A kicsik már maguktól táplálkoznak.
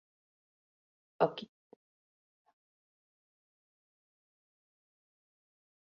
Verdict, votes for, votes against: rejected, 0, 2